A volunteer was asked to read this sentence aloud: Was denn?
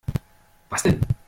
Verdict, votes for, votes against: rejected, 0, 2